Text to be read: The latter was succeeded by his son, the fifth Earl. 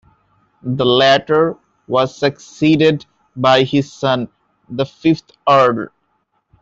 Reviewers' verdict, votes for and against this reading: accepted, 2, 0